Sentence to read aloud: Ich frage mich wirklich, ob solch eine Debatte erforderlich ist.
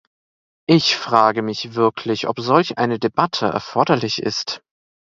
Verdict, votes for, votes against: accepted, 2, 0